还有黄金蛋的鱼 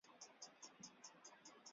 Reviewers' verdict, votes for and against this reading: rejected, 0, 4